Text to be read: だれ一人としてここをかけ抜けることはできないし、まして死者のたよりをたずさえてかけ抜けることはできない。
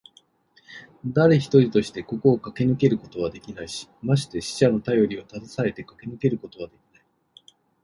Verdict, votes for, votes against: rejected, 1, 2